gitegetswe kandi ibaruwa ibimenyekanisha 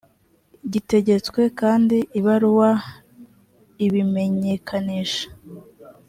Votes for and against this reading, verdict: 2, 0, accepted